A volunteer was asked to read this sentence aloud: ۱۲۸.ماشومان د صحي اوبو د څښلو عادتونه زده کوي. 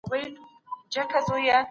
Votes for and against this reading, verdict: 0, 2, rejected